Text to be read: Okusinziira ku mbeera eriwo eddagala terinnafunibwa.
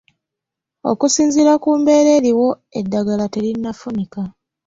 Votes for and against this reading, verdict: 1, 2, rejected